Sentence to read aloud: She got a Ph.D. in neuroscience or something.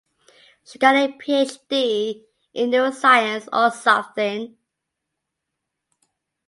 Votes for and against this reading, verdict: 2, 0, accepted